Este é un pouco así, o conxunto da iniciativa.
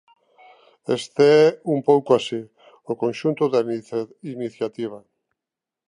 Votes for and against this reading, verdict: 0, 2, rejected